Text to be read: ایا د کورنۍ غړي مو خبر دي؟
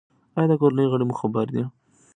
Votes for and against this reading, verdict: 1, 2, rejected